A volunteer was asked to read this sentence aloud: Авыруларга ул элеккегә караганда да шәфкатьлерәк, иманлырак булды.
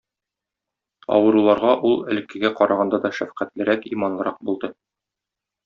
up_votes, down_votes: 2, 0